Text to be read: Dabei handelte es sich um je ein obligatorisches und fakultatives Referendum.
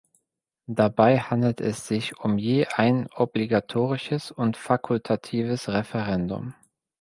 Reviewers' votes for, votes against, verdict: 2, 0, accepted